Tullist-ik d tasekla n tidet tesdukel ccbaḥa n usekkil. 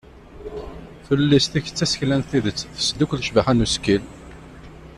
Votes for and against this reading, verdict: 2, 0, accepted